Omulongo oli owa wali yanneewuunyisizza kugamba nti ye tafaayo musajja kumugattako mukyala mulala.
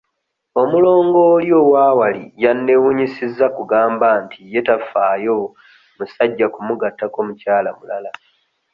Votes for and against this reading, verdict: 2, 0, accepted